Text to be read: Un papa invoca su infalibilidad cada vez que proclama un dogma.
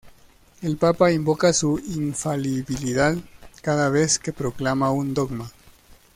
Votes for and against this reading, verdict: 0, 2, rejected